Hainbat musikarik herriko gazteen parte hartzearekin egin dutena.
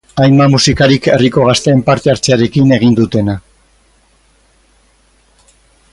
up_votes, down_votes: 4, 0